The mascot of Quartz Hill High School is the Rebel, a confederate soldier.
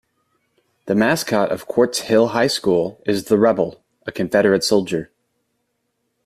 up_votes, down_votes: 2, 0